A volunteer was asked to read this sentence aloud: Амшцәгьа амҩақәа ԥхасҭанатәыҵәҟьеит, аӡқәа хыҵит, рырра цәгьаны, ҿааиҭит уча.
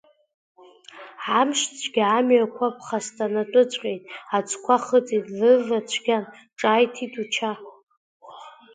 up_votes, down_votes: 2, 0